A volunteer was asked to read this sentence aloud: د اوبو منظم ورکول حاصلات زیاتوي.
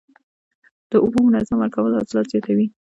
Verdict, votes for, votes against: accepted, 2, 0